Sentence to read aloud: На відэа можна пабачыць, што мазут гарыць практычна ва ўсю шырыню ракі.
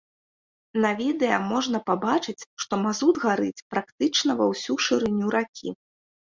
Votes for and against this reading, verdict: 2, 0, accepted